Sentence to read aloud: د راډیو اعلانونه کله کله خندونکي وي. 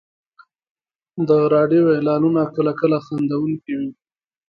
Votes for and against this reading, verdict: 2, 0, accepted